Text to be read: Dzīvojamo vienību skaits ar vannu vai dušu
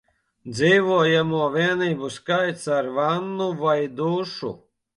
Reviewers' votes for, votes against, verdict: 1, 2, rejected